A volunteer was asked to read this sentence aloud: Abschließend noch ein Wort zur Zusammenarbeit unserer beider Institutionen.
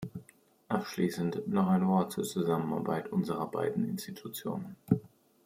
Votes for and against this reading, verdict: 0, 2, rejected